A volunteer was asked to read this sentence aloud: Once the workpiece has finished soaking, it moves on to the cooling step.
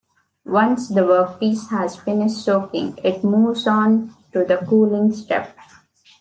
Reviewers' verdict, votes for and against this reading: accepted, 2, 0